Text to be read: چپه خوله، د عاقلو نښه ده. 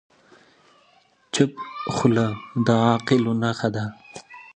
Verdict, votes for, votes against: accepted, 3, 2